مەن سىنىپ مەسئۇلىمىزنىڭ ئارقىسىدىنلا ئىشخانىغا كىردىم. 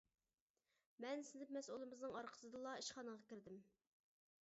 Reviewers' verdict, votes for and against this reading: rejected, 1, 2